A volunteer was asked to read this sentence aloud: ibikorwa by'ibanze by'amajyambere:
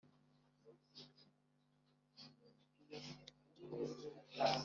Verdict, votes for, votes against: rejected, 1, 2